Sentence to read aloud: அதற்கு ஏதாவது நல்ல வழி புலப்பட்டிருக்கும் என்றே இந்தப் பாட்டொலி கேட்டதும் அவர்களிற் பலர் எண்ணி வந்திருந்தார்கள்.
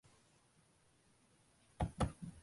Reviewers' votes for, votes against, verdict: 0, 2, rejected